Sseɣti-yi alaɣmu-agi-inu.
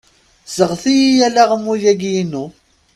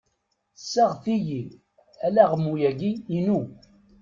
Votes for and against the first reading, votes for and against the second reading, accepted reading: 2, 0, 1, 2, first